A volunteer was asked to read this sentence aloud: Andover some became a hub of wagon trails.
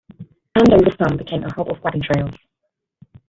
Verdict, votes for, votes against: accepted, 2, 1